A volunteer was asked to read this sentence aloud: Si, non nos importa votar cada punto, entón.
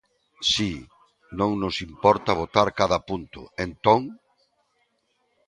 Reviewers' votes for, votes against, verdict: 2, 0, accepted